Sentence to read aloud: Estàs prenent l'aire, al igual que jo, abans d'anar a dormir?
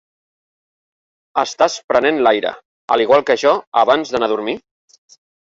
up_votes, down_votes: 3, 0